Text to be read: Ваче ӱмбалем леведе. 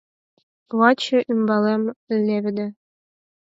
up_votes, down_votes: 0, 4